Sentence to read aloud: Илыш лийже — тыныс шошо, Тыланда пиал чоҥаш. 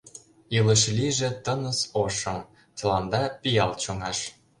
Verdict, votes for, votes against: rejected, 0, 2